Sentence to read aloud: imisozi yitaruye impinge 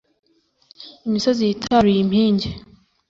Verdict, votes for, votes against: accepted, 2, 0